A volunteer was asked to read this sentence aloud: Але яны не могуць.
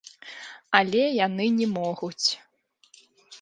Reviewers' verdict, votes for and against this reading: rejected, 1, 2